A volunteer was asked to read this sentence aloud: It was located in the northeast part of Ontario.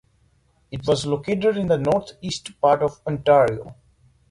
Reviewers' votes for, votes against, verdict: 2, 0, accepted